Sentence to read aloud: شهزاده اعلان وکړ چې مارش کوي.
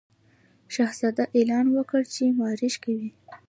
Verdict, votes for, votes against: accepted, 2, 0